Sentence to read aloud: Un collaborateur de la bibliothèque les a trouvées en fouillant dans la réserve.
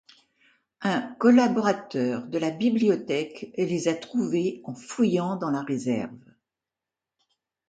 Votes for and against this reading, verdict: 2, 0, accepted